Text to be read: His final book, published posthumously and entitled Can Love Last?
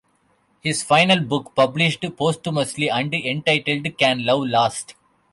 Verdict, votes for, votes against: rejected, 1, 2